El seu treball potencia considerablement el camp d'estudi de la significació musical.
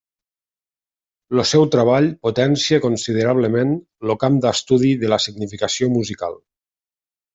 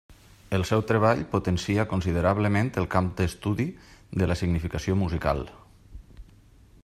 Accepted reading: second